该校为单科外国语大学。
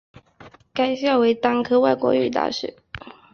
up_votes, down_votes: 2, 0